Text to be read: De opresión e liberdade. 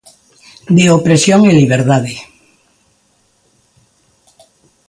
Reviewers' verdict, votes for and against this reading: accepted, 2, 0